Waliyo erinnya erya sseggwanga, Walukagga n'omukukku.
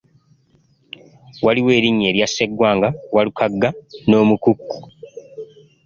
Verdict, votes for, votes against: accepted, 2, 1